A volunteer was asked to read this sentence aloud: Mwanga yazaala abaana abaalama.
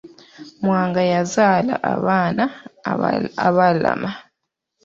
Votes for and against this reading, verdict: 0, 2, rejected